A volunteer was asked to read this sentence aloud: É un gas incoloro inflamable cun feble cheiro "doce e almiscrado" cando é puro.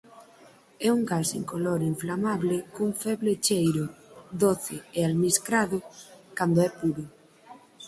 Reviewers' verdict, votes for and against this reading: accepted, 4, 0